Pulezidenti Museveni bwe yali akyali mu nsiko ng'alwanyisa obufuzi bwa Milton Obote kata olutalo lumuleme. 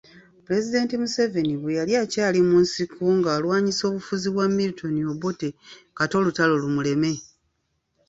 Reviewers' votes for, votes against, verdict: 2, 0, accepted